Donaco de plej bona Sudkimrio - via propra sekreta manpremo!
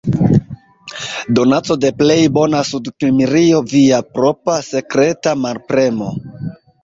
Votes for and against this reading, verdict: 0, 2, rejected